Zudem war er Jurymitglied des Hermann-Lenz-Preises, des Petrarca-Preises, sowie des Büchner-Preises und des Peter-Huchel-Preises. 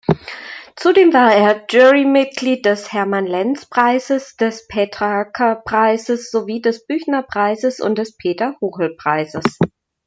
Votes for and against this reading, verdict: 2, 0, accepted